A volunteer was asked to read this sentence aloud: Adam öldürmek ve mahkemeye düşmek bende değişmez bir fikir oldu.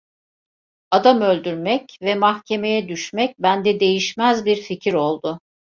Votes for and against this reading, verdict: 2, 0, accepted